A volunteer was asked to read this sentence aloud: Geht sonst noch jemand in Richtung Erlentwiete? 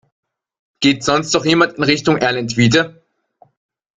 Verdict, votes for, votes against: accepted, 2, 1